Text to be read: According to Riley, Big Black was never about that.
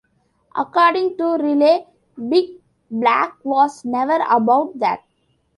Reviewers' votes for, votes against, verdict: 2, 1, accepted